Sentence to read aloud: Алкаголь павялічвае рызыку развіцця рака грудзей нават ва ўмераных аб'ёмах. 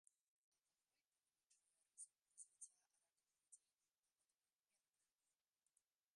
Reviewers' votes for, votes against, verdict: 1, 2, rejected